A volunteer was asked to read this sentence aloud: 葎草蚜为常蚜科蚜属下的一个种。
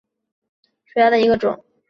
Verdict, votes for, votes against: accepted, 4, 3